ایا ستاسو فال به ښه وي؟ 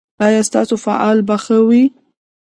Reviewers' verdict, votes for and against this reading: rejected, 1, 2